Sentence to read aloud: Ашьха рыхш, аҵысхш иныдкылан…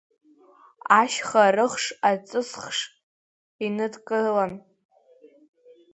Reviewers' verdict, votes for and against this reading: accepted, 2, 0